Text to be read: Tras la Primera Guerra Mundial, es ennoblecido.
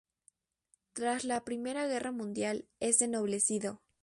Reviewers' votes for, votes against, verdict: 2, 0, accepted